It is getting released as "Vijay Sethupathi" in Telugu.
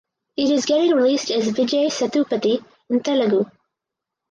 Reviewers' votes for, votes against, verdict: 2, 0, accepted